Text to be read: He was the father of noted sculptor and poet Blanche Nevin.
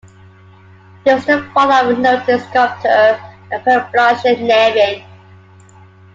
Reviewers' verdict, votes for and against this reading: rejected, 0, 2